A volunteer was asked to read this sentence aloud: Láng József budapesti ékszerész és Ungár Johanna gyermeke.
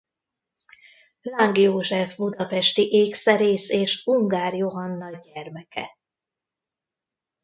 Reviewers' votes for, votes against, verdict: 1, 2, rejected